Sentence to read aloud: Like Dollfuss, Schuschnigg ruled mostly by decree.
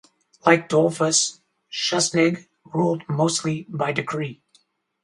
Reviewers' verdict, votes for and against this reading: rejected, 0, 2